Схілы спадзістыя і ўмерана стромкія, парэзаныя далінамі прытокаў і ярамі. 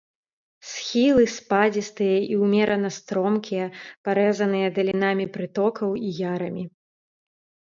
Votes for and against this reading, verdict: 3, 1, accepted